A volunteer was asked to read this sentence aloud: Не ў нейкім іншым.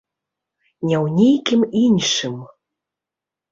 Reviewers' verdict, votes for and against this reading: rejected, 0, 2